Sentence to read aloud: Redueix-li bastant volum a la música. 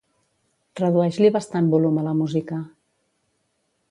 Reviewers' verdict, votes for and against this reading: accepted, 2, 0